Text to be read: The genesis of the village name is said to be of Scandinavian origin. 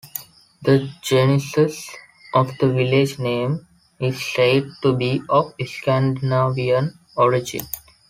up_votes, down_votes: 3, 1